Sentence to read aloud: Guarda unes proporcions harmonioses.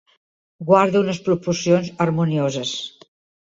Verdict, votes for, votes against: accepted, 2, 0